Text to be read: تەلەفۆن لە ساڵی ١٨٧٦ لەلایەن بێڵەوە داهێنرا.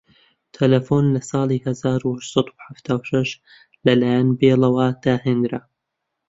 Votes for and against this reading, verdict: 0, 2, rejected